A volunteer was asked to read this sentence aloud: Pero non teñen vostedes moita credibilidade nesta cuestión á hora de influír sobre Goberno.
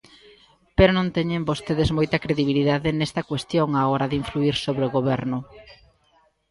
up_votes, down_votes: 0, 2